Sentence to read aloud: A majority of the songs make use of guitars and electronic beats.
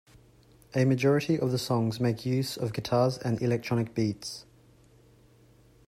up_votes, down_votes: 2, 0